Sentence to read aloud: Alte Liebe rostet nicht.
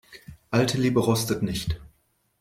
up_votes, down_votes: 2, 0